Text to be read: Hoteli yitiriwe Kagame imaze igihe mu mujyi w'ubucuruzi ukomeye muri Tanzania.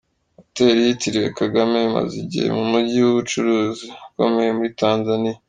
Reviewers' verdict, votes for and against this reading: accepted, 2, 0